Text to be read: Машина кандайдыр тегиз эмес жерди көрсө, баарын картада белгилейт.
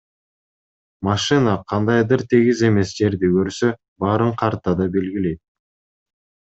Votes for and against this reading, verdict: 2, 0, accepted